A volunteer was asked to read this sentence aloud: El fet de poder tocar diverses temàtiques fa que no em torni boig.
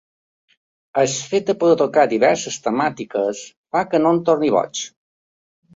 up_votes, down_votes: 2, 1